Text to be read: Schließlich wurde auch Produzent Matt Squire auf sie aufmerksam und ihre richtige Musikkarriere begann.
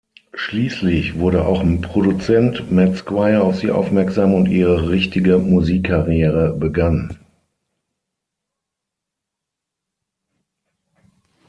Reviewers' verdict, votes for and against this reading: rejected, 3, 6